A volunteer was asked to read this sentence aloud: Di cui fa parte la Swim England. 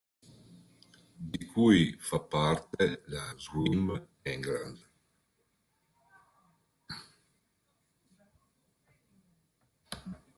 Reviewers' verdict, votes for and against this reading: rejected, 1, 2